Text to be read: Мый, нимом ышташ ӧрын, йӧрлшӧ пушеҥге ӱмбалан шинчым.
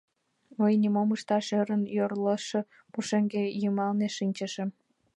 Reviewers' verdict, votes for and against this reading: rejected, 0, 2